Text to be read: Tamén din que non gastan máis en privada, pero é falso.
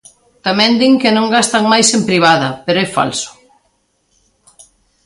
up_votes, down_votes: 2, 0